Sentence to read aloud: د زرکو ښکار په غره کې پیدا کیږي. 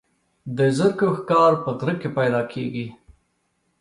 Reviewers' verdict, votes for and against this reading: accepted, 2, 0